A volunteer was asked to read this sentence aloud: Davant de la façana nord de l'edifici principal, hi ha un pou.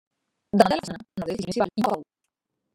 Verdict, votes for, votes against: rejected, 0, 2